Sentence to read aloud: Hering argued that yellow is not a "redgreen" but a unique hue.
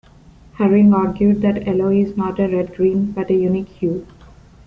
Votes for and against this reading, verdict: 0, 2, rejected